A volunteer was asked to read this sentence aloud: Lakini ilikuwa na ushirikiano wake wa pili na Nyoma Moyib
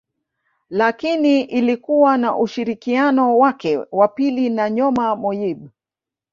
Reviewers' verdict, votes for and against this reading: accepted, 2, 0